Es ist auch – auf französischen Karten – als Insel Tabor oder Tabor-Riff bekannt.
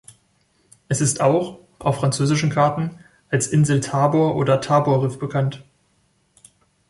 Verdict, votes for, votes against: accepted, 3, 0